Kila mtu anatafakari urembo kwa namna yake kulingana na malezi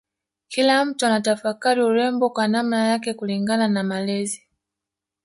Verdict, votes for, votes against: rejected, 1, 2